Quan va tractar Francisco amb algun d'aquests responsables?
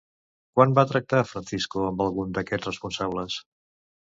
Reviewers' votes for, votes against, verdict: 1, 2, rejected